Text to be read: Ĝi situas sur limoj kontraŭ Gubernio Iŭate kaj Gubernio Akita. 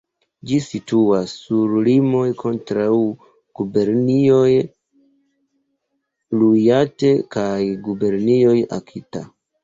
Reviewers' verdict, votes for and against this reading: accepted, 2, 1